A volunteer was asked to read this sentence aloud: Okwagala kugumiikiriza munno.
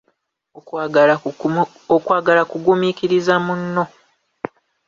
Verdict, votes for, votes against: rejected, 0, 2